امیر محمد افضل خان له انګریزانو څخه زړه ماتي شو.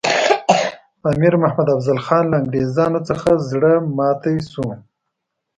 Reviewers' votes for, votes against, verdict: 0, 2, rejected